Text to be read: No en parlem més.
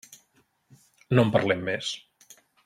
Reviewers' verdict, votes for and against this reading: accepted, 3, 0